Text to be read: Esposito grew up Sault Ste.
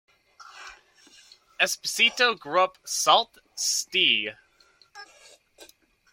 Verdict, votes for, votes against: accepted, 2, 0